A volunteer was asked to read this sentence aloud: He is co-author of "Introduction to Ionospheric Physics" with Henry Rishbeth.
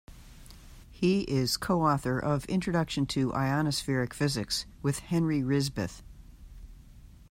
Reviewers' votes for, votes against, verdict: 2, 0, accepted